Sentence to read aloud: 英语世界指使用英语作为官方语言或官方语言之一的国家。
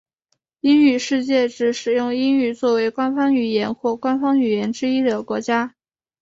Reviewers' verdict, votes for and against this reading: accepted, 3, 0